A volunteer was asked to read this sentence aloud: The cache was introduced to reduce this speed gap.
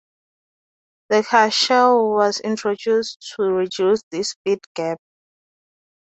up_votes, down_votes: 0, 4